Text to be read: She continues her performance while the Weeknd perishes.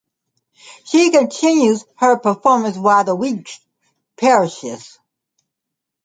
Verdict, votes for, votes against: rejected, 0, 2